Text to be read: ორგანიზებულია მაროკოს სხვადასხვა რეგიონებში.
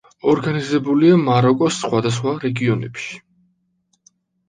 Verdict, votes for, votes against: accepted, 2, 0